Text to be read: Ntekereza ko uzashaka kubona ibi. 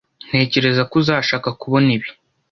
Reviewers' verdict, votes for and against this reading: accepted, 2, 0